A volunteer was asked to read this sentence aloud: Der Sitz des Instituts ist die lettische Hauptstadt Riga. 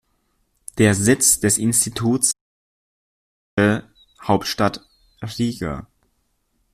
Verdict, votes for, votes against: rejected, 0, 2